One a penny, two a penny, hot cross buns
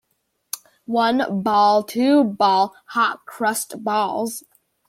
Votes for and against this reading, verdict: 1, 2, rejected